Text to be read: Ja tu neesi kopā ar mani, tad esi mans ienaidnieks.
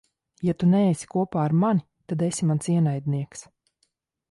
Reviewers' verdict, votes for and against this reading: accepted, 2, 0